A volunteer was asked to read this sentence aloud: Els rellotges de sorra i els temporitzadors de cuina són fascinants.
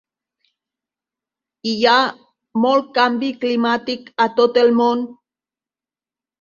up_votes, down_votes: 1, 2